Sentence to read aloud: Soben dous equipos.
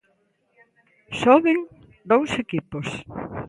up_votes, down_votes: 2, 0